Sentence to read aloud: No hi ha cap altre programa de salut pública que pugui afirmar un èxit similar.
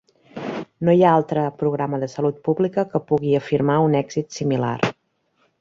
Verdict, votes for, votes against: rejected, 1, 2